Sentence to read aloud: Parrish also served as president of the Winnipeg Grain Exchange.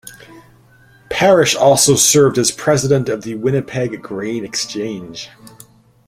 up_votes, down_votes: 2, 0